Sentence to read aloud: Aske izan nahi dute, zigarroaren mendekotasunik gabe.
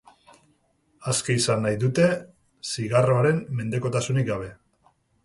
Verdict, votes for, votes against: accepted, 4, 0